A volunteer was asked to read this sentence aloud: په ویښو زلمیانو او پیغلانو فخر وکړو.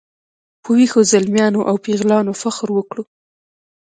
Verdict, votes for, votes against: rejected, 1, 2